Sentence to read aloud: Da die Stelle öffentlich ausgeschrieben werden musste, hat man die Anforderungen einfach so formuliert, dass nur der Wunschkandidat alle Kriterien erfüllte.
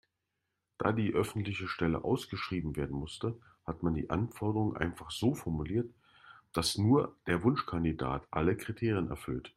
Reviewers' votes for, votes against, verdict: 1, 2, rejected